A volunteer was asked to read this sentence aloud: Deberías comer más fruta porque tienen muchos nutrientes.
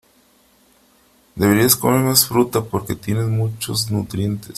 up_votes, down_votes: 3, 0